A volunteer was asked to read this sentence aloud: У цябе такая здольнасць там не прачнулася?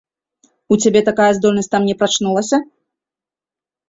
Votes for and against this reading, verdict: 3, 0, accepted